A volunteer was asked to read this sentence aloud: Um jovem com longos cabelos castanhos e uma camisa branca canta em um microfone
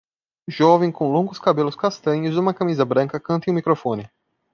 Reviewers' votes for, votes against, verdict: 0, 2, rejected